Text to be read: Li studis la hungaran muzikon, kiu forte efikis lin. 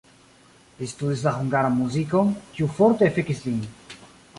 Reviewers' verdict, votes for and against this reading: rejected, 0, 2